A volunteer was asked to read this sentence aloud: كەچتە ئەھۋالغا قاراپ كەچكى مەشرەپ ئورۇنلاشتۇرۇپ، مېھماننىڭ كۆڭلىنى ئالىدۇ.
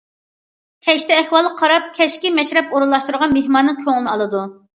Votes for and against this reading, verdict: 0, 2, rejected